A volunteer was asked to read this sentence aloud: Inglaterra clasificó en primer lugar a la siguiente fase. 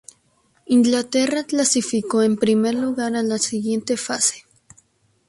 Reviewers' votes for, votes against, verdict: 4, 0, accepted